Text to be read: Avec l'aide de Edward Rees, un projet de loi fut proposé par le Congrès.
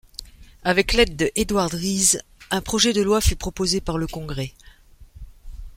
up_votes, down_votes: 2, 0